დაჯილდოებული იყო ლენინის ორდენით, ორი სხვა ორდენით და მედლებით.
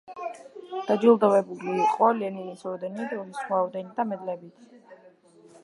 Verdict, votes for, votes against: rejected, 0, 2